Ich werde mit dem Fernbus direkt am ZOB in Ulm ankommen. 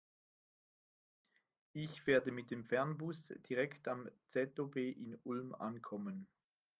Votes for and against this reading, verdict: 2, 0, accepted